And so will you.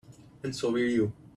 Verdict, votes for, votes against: accepted, 2, 0